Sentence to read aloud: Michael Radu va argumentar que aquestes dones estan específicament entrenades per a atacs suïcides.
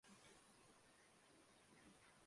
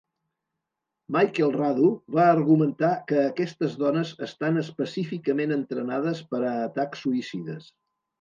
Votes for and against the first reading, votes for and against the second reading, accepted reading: 0, 2, 3, 0, second